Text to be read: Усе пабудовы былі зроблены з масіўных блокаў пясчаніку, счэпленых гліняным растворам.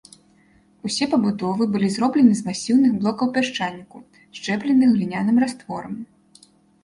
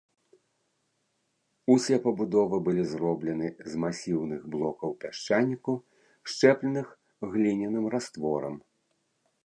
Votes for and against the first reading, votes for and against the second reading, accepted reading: 2, 0, 1, 2, first